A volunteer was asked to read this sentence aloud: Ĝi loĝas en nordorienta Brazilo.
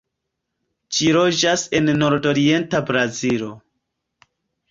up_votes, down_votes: 2, 1